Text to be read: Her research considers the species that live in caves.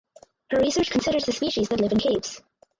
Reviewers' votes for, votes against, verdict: 0, 4, rejected